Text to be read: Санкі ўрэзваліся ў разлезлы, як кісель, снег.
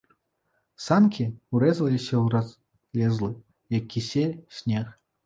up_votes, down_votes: 0, 2